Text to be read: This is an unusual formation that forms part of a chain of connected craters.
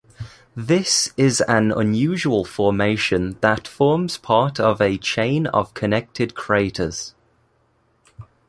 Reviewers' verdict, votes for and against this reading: accepted, 2, 0